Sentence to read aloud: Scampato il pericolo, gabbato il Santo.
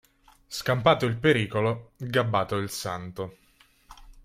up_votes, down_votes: 2, 0